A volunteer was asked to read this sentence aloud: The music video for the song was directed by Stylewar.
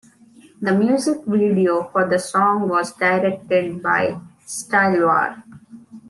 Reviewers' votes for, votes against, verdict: 2, 1, accepted